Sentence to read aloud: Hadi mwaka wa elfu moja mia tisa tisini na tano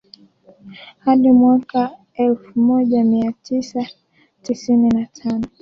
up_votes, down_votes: 2, 1